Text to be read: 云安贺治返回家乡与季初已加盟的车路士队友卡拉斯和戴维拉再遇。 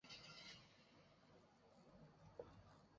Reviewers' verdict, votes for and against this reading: rejected, 0, 2